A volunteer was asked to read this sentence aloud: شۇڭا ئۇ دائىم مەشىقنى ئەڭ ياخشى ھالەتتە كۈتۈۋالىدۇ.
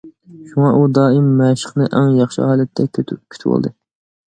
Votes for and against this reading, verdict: 0, 2, rejected